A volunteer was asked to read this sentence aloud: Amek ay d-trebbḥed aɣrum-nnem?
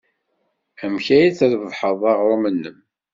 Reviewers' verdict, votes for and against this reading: accepted, 2, 0